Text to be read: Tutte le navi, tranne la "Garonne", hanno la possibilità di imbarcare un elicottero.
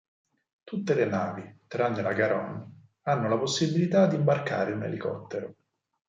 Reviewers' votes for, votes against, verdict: 4, 0, accepted